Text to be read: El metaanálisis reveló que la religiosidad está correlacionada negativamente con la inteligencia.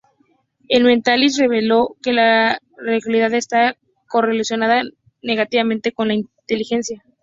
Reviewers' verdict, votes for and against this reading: rejected, 0, 2